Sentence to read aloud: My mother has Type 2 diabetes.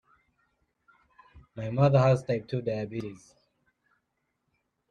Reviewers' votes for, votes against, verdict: 0, 2, rejected